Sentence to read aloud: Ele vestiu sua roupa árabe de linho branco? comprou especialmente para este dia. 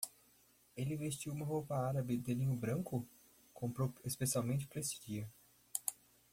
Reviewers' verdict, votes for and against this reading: rejected, 0, 2